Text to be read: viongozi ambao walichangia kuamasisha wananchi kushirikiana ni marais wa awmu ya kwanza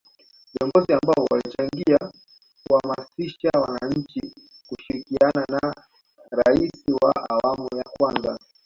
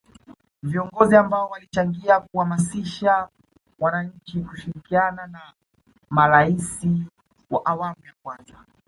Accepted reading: second